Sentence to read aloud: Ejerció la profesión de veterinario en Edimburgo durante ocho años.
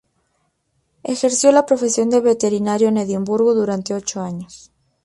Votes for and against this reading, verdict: 0, 2, rejected